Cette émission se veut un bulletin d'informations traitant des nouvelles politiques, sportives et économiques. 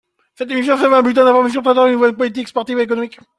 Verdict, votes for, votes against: rejected, 0, 2